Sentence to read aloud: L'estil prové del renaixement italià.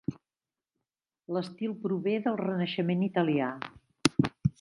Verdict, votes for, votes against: accepted, 3, 0